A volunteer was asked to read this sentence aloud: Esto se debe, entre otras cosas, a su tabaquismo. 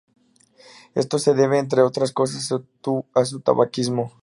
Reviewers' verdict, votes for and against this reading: accepted, 2, 0